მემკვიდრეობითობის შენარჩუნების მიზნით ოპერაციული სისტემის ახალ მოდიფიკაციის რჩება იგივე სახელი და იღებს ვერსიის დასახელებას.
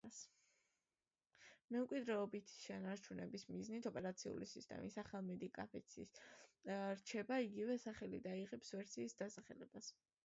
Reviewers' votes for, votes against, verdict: 0, 2, rejected